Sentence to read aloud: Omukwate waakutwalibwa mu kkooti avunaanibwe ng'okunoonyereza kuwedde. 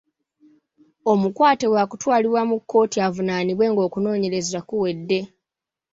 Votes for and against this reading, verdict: 2, 0, accepted